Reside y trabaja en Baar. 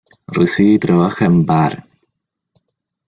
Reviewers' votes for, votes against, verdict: 0, 2, rejected